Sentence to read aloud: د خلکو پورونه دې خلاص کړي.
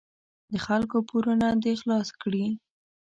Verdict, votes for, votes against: accepted, 2, 0